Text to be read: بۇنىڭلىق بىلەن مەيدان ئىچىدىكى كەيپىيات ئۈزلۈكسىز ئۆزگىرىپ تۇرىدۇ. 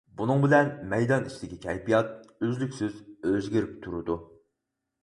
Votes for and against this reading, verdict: 0, 4, rejected